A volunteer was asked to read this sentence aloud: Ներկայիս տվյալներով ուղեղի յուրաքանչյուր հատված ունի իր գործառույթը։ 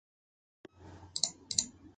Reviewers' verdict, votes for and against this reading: rejected, 0, 2